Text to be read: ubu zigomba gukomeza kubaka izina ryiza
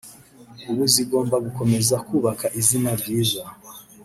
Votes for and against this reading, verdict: 1, 2, rejected